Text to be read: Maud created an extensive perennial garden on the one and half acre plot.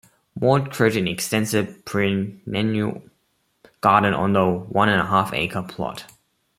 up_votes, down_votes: 0, 3